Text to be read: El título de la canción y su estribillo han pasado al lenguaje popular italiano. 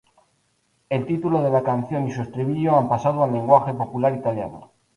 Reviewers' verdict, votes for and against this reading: rejected, 0, 2